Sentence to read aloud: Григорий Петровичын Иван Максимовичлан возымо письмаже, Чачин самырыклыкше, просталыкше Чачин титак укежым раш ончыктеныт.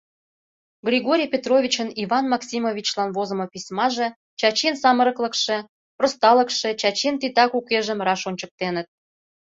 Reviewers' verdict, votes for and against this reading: accepted, 3, 0